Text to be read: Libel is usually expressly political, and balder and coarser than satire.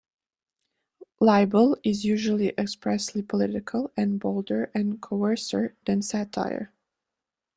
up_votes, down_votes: 2, 0